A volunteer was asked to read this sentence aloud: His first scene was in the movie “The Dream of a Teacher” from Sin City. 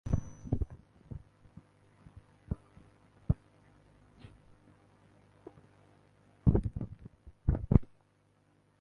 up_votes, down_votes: 0, 2